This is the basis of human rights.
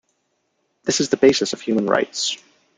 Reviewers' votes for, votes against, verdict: 0, 2, rejected